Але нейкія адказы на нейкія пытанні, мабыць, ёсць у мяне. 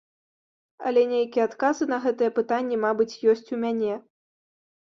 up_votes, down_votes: 0, 2